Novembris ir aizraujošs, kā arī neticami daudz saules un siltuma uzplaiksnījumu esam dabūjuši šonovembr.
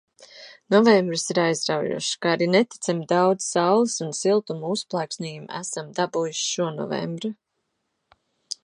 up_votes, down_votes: 2, 0